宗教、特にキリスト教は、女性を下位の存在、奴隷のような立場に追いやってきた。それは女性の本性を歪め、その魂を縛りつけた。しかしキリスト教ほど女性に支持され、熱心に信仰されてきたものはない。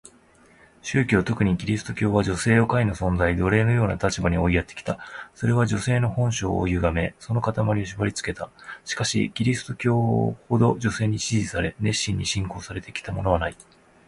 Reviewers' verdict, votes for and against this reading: rejected, 1, 2